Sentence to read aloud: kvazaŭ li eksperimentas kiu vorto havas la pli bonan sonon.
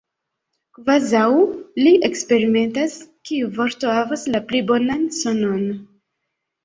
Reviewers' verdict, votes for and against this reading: accepted, 2, 0